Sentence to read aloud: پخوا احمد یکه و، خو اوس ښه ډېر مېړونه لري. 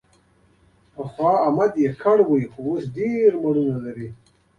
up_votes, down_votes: 2, 0